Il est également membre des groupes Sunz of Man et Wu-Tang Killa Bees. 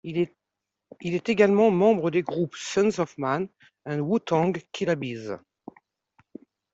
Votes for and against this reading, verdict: 0, 2, rejected